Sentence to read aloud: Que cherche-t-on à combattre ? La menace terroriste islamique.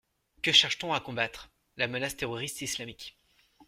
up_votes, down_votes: 2, 0